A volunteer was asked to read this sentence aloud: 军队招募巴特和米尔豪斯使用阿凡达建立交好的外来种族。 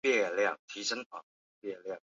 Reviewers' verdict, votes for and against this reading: rejected, 0, 3